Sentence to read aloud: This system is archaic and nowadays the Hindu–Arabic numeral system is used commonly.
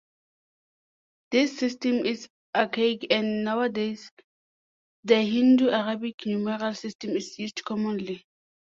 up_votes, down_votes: 2, 0